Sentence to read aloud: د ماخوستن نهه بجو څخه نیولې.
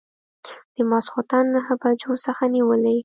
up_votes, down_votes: 2, 0